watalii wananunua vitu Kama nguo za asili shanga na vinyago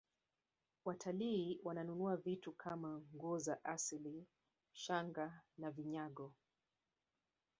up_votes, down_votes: 3, 0